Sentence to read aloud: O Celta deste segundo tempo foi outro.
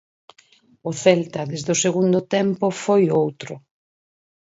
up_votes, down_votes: 2, 4